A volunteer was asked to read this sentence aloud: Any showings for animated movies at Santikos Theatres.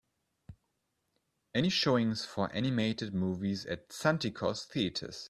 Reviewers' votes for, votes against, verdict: 2, 0, accepted